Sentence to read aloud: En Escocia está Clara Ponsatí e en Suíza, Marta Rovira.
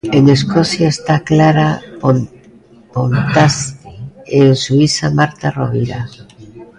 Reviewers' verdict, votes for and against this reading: rejected, 0, 2